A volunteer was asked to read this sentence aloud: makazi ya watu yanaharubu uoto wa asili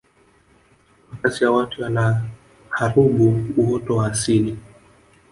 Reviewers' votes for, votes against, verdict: 1, 2, rejected